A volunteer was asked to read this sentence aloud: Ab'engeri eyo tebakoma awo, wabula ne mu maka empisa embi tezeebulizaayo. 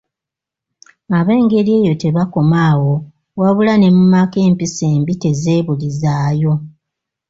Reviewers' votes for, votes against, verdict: 2, 0, accepted